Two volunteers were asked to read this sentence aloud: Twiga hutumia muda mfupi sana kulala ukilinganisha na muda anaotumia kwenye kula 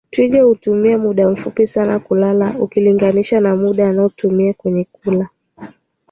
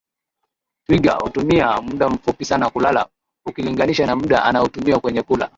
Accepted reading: second